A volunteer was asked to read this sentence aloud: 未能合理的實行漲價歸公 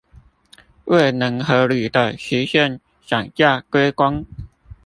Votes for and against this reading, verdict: 1, 2, rejected